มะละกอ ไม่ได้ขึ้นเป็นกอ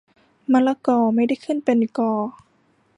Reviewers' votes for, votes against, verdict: 2, 0, accepted